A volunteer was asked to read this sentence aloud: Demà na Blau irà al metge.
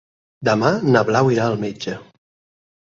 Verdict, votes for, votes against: accepted, 6, 0